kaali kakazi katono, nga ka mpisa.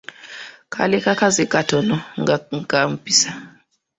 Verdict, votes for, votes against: accepted, 3, 0